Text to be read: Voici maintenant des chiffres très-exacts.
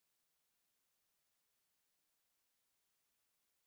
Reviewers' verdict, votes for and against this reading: rejected, 0, 4